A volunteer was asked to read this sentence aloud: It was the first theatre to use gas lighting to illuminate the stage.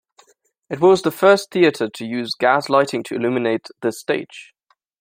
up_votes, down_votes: 2, 0